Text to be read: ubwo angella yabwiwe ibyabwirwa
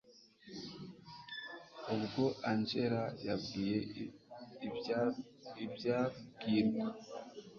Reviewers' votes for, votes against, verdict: 1, 2, rejected